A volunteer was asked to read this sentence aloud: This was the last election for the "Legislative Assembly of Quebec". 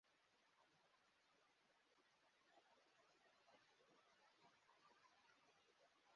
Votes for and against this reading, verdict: 0, 2, rejected